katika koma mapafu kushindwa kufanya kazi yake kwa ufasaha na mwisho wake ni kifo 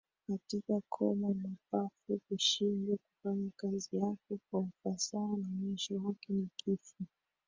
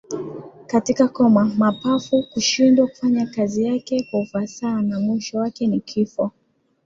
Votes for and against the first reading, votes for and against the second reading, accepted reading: 1, 2, 2, 0, second